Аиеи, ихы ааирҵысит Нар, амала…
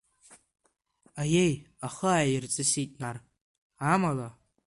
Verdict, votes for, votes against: rejected, 0, 2